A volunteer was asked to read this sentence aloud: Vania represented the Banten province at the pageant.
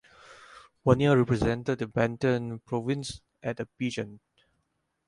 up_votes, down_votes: 0, 4